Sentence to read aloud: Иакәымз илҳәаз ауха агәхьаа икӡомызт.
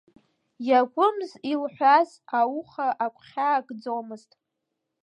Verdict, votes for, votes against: accepted, 2, 1